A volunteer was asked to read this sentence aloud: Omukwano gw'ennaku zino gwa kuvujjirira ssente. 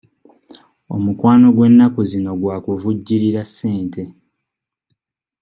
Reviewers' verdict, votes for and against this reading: accepted, 2, 0